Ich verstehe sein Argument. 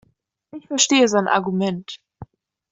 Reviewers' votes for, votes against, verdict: 2, 0, accepted